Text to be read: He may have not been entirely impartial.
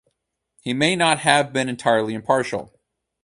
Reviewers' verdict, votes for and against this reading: accepted, 2, 0